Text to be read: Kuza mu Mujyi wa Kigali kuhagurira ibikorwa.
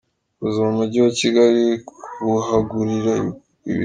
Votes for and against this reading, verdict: 0, 2, rejected